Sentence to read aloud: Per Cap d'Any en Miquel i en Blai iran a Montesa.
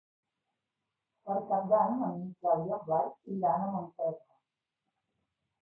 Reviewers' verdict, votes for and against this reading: rejected, 1, 2